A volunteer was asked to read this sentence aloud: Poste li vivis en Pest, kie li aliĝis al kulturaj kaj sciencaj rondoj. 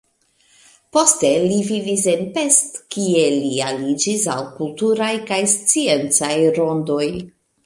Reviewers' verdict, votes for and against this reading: accepted, 2, 0